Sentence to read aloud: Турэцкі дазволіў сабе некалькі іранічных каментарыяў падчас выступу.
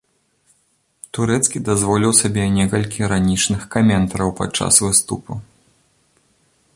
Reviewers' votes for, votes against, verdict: 0, 2, rejected